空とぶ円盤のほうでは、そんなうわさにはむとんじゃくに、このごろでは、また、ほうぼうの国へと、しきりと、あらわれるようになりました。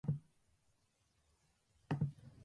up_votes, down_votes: 0, 3